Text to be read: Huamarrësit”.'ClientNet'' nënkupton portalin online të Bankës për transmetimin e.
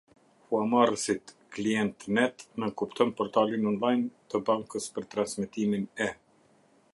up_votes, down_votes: 0, 2